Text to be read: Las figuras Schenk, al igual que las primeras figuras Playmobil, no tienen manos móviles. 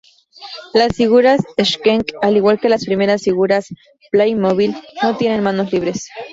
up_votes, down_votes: 0, 2